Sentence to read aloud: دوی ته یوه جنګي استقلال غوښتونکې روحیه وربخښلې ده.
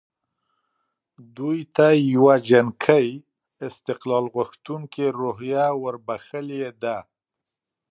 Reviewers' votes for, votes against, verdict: 1, 2, rejected